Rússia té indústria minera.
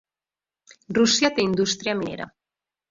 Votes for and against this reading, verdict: 1, 2, rejected